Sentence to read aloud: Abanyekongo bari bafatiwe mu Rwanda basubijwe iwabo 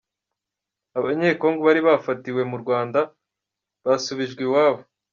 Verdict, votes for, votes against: accepted, 2, 0